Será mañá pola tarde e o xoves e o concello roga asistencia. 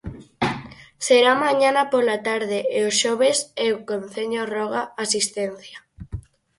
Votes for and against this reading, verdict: 0, 4, rejected